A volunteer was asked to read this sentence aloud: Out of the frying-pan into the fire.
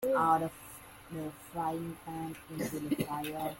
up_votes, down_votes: 1, 2